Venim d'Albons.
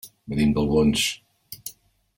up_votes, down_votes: 2, 3